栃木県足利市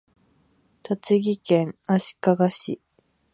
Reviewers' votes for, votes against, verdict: 4, 2, accepted